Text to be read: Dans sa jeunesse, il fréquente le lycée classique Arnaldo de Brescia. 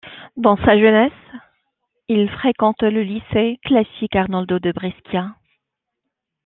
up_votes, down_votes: 2, 1